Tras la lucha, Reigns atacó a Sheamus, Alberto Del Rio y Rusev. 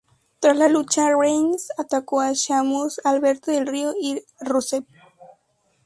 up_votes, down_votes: 2, 0